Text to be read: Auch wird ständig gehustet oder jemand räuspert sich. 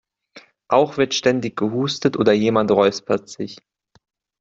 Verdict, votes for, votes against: accepted, 2, 0